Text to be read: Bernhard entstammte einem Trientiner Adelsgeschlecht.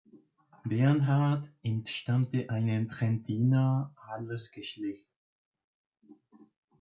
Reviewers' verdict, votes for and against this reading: rejected, 0, 2